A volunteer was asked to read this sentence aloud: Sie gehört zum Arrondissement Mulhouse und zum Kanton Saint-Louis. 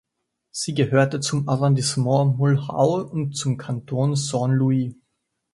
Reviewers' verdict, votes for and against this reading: rejected, 0, 2